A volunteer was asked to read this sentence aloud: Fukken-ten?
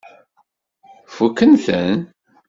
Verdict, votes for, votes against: accepted, 2, 0